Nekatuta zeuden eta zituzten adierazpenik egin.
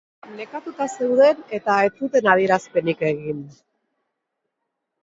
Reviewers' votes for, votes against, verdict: 0, 2, rejected